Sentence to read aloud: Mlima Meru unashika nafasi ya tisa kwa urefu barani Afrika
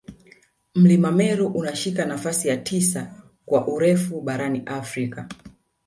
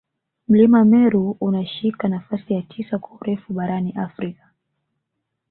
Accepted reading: second